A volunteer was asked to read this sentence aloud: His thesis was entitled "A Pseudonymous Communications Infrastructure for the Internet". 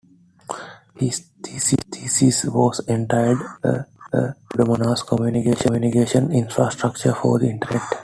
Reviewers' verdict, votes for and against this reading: rejected, 1, 2